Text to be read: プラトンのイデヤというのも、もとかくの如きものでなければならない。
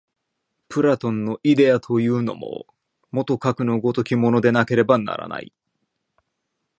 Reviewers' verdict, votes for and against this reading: accepted, 2, 0